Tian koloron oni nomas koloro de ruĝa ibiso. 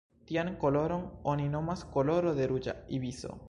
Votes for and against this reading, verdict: 2, 0, accepted